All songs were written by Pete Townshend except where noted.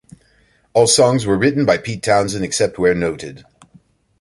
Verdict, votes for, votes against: accepted, 2, 0